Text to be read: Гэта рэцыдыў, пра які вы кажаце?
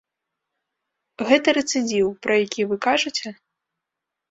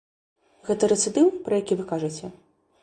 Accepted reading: second